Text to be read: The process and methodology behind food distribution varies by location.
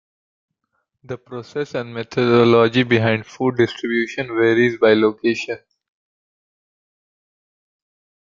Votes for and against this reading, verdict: 2, 1, accepted